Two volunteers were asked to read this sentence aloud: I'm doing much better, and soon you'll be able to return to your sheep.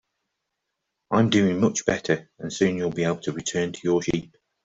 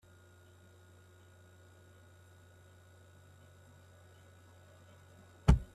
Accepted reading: first